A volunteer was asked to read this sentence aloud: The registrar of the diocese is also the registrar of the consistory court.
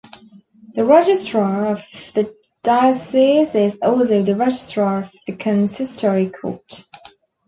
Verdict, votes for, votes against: rejected, 0, 3